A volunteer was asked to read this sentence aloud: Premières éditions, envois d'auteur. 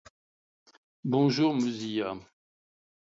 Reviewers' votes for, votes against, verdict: 0, 2, rejected